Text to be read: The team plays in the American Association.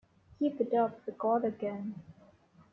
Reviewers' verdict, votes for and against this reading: rejected, 1, 2